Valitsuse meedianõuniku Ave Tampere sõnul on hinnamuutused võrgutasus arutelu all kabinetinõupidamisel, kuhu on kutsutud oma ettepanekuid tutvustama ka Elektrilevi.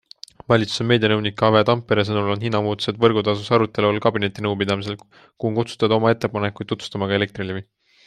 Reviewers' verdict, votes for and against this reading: accepted, 2, 0